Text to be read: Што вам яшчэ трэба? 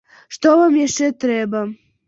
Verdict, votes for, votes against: accepted, 2, 0